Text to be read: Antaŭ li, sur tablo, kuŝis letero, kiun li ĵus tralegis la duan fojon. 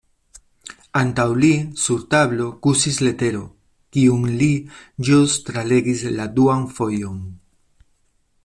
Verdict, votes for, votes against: rejected, 0, 2